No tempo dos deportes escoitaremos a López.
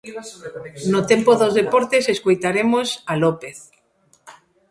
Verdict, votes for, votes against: accepted, 2, 1